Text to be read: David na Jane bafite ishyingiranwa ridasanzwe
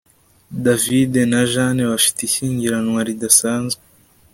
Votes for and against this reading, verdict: 2, 0, accepted